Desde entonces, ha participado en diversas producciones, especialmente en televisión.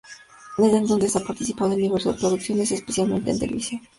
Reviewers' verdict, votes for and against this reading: rejected, 0, 2